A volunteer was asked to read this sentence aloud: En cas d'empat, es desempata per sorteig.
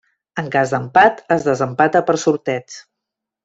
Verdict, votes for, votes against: accepted, 2, 0